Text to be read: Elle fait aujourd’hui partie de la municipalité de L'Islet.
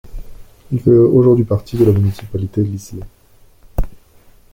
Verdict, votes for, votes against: rejected, 0, 2